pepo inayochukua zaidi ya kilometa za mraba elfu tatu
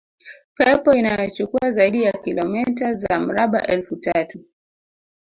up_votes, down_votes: 1, 2